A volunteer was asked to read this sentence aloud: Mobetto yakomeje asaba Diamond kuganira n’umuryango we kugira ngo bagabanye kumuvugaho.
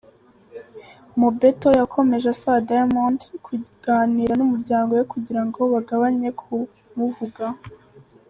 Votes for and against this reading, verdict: 2, 1, accepted